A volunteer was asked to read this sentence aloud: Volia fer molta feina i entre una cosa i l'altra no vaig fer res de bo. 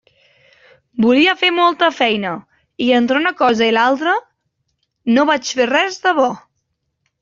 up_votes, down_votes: 3, 0